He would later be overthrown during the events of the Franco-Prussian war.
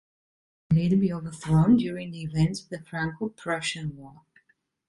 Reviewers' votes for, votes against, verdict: 1, 2, rejected